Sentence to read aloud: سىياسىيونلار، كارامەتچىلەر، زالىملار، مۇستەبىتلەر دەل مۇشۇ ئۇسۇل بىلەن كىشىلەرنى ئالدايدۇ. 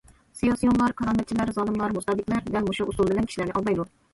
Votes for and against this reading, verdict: 2, 1, accepted